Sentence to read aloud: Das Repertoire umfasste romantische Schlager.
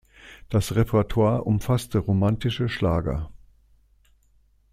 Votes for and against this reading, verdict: 2, 0, accepted